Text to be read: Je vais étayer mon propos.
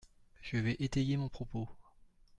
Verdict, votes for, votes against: accepted, 2, 0